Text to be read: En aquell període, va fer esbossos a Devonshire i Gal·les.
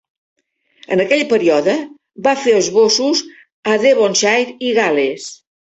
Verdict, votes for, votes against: accepted, 2, 0